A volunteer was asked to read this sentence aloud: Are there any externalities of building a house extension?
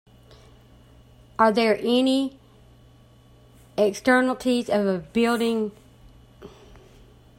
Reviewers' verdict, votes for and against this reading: rejected, 0, 2